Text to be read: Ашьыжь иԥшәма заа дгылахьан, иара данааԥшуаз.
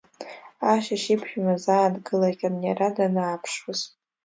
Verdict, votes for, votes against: accepted, 2, 0